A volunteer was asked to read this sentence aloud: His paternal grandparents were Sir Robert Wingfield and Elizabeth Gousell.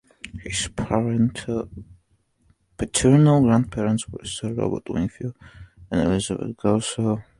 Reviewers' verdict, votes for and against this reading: rejected, 0, 2